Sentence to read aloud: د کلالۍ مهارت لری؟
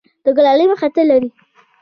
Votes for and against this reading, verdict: 2, 0, accepted